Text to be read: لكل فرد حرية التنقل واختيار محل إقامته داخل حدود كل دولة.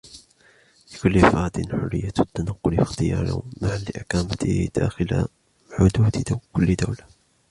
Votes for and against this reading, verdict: 1, 2, rejected